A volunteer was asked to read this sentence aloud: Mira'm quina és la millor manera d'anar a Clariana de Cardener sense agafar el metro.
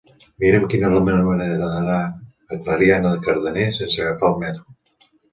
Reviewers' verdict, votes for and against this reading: rejected, 1, 2